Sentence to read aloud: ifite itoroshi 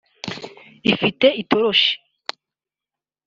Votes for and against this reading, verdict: 2, 0, accepted